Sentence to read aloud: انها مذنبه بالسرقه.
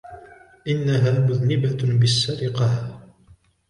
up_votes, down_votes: 2, 1